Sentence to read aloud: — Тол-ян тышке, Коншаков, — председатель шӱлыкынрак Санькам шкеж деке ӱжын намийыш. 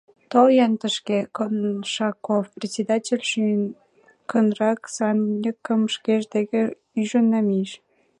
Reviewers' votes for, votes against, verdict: 1, 2, rejected